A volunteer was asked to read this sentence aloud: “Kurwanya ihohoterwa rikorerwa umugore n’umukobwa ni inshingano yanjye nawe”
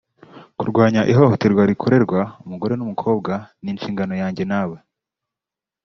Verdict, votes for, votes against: rejected, 1, 2